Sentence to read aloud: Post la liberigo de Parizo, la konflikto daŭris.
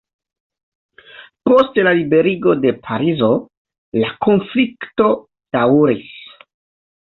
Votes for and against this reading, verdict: 2, 1, accepted